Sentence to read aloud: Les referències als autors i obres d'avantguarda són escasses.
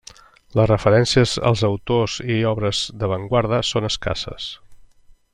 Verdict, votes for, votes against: accepted, 3, 0